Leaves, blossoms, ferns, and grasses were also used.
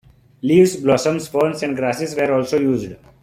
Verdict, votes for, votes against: accepted, 2, 0